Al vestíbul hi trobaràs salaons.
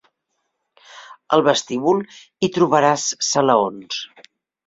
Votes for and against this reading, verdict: 4, 0, accepted